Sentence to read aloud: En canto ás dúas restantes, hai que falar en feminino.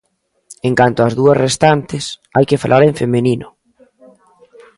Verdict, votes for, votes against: rejected, 1, 2